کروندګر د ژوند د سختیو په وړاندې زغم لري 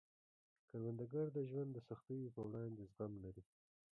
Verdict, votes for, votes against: rejected, 0, 2